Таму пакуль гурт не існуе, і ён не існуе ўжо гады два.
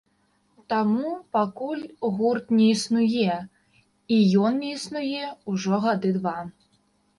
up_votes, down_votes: 2, 0